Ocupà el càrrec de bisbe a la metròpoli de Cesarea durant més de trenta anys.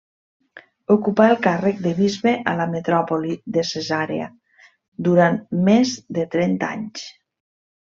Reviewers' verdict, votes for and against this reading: rejected, 1, 2